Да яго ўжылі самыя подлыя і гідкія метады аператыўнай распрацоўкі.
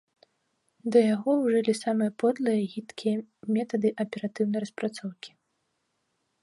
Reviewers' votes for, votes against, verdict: 2, 0, accepted